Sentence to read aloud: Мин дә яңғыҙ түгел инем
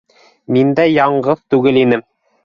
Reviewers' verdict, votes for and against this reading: accepted, 2, 0